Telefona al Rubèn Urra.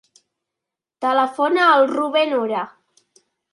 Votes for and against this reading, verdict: 1, 2, rejected